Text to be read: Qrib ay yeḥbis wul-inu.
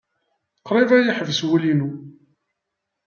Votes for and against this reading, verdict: 0, 2, rejected